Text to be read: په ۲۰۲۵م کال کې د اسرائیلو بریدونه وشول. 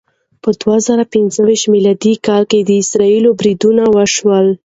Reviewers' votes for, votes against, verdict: 0, 2, rejected